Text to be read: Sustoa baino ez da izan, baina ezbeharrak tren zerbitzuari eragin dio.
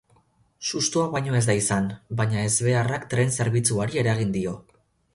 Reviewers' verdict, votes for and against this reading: accepted, 4, 0